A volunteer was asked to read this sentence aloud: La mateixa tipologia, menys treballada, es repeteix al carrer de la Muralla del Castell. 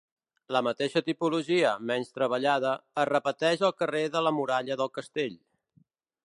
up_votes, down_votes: 3, 0